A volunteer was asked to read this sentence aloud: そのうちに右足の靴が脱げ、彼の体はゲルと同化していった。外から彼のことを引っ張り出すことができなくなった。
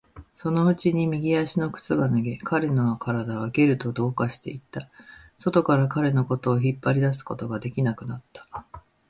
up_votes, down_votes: 3, 1